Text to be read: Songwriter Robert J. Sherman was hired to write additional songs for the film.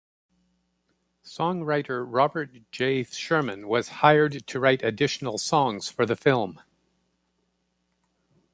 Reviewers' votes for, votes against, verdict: 0, 2, rejected